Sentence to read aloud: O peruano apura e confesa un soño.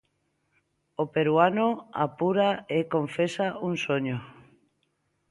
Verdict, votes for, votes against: accepted, 2, 0